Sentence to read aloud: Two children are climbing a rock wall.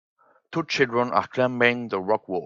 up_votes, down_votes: 2, 5